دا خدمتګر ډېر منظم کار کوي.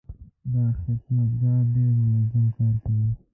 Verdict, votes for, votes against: rejected, 1, 2